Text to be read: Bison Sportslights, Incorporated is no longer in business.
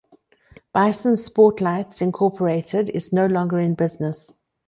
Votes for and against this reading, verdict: 2, 0, accepted